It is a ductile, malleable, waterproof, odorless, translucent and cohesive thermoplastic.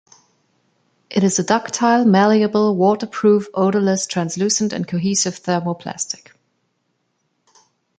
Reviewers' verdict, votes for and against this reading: accepted, 2, 0